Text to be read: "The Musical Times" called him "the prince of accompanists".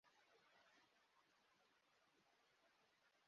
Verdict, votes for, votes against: rejected, 0, 2